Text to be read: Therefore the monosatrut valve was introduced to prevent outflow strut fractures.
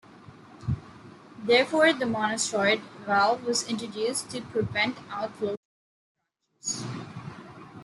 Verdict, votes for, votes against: rejected, 0, 2